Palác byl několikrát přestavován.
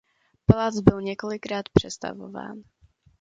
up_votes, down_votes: 2, 0